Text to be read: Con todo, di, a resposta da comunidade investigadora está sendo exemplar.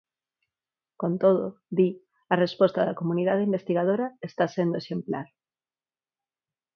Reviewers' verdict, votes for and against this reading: accepted, 4, 2